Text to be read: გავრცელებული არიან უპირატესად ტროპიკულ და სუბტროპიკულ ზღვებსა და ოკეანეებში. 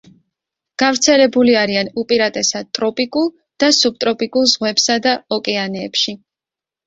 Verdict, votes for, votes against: accepted, 2, 0